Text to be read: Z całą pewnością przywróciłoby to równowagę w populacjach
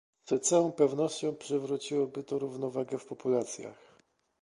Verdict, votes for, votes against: accepted, 2, 0